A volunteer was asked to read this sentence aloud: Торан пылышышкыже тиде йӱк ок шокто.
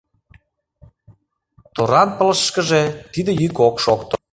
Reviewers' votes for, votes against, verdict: 0, 2, rejected